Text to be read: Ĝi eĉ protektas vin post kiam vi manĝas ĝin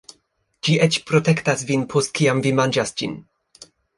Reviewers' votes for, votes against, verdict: 2, 0, accepted